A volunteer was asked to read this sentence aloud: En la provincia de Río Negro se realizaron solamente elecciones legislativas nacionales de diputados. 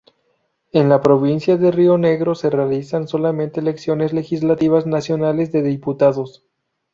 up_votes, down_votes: 0, 4